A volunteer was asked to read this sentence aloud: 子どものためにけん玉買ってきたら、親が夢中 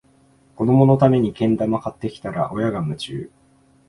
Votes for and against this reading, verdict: 2, 0, accepted